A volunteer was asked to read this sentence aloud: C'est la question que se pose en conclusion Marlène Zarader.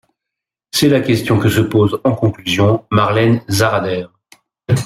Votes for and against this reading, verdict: 2, 0, accepted